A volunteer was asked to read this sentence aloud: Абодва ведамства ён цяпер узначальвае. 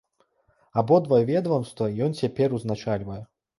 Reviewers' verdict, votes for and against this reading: rejected, 0, 2